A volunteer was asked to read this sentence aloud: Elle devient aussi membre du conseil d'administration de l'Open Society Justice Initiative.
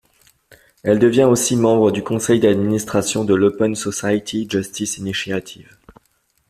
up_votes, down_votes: 2, 0